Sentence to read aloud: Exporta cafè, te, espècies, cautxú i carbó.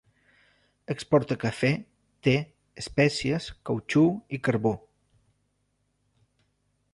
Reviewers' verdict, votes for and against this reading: accepted, 3, 0